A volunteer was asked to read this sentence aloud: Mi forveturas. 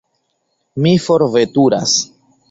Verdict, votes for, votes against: accepted, 2, 0